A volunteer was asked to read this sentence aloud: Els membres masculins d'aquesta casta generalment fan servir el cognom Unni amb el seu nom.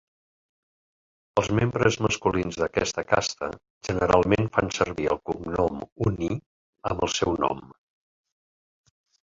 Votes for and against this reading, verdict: 1, 2, rejected